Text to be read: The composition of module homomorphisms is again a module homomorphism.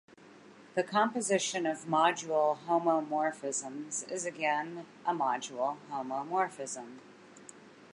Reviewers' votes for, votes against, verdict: 2, 0, accepted